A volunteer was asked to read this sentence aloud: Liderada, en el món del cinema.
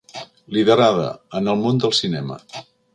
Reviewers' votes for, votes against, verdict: 2, 0, accepted